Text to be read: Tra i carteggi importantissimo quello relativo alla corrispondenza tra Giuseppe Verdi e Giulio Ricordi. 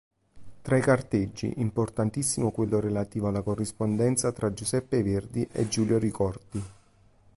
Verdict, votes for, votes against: accepted, 2, 0